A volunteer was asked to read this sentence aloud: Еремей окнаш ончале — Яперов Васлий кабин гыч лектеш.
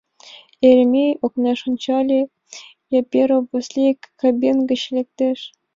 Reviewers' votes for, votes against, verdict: 2, 0, accepted